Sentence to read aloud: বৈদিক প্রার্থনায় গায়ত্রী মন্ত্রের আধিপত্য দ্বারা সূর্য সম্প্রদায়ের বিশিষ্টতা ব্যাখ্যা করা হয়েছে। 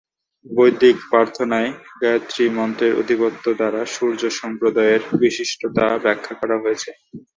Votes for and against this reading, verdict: 7, 6, accepted